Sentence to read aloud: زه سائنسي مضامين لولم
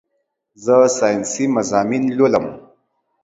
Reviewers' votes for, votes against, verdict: 2, 0, accepted